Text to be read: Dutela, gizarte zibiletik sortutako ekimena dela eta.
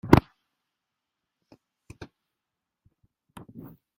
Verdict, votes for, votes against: rejected, 0, 2